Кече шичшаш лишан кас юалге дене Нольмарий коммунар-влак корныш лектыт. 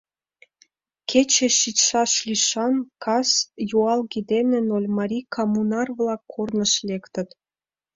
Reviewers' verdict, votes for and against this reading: rejected, 1, 2